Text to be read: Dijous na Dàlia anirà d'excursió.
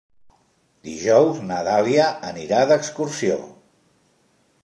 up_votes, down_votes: 2, 0